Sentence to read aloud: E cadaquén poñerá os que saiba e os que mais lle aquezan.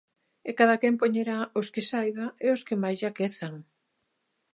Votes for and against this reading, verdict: 2, 0, accepted